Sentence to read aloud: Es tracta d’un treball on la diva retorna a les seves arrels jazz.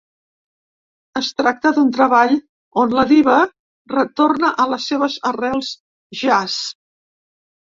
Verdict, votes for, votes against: accepted, 3, 0